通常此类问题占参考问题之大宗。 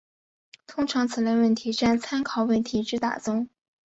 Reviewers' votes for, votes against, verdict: 3, 0, accepted